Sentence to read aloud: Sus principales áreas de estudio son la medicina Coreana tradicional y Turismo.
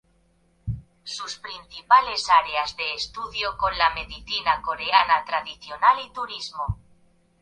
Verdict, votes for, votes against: rejected, 0, 2